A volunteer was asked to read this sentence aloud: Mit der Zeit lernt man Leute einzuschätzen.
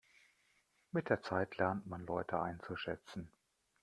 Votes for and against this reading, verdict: 2, 0, accepted